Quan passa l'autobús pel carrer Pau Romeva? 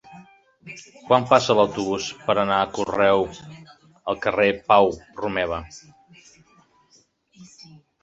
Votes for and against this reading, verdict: 0, 3, rejected